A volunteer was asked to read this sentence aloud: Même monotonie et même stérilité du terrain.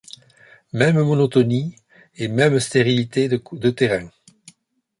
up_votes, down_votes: 0, 2